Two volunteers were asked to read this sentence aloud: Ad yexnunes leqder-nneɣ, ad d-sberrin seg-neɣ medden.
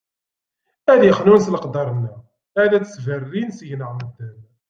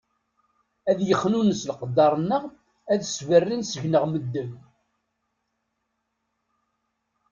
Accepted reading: second